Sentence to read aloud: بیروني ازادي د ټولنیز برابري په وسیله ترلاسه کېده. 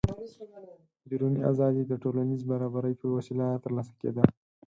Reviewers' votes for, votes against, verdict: 4, 2, accepted